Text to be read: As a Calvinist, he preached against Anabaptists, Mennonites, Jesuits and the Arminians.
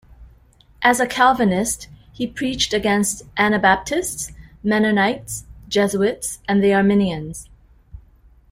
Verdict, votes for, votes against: accepted, 2, 0